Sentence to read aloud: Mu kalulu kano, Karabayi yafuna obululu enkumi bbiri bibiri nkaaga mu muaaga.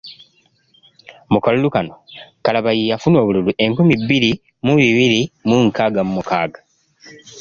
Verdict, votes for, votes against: rejected, 0, 2